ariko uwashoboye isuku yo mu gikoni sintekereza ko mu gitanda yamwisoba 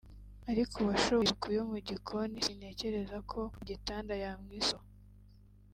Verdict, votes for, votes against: rejected, 0, 2